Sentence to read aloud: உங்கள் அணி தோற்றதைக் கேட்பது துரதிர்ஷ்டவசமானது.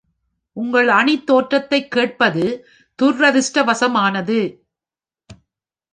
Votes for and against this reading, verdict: 0, 3, rejected